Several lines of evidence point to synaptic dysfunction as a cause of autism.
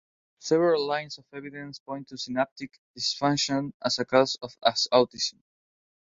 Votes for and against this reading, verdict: 2, 0, accepted